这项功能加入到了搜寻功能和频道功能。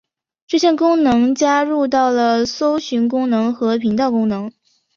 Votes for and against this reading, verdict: 2, 0, accepted